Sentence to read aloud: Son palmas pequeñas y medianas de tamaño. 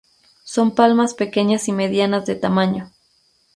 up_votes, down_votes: 2, 0